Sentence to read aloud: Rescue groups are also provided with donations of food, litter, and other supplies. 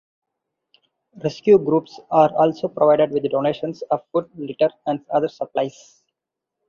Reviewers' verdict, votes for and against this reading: accepted, 4, 2